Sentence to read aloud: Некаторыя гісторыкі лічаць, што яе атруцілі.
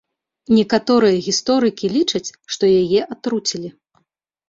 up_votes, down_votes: 3, 0